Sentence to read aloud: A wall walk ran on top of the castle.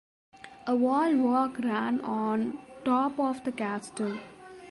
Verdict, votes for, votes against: rejected, 0, 2